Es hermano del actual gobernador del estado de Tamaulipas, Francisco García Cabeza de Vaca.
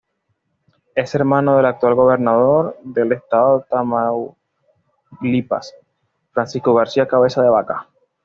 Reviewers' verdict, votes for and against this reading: accepted, 2, 0